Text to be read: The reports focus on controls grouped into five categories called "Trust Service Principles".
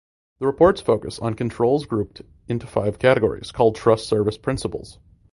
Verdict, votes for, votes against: accepted, 2, 0